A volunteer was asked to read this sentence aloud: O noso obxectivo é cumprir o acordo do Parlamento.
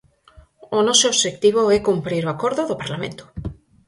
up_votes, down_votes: 4, 0